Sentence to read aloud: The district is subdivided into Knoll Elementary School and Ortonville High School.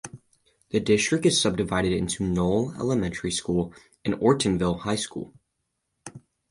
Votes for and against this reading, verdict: 4, 0, accepted